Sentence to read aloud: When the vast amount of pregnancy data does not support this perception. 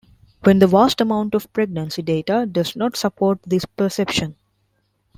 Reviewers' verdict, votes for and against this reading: accepted, 3, 0